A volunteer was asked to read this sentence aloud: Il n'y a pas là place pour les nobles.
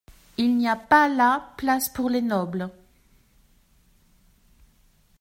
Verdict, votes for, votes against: accepted, 2, 0